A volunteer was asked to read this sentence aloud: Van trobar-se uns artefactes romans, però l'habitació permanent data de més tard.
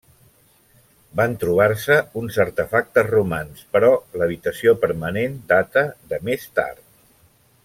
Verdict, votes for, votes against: accepted, 3, 0